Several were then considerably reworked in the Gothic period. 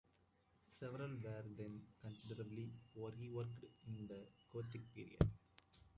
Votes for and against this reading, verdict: 0, 2, rejected